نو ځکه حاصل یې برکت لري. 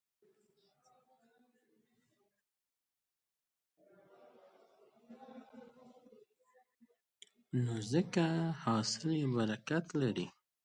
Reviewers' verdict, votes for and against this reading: rejected, 0, 2